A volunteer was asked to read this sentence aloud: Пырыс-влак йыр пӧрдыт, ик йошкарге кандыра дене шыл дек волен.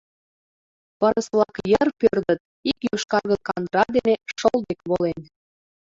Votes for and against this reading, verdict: 0, 3, rejected